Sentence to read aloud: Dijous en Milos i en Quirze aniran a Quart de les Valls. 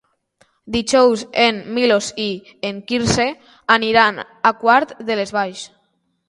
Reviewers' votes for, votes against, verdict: 2, 0, accepted